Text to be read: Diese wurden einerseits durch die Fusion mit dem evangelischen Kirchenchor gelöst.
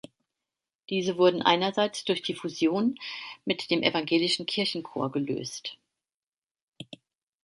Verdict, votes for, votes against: accepted, 2, 0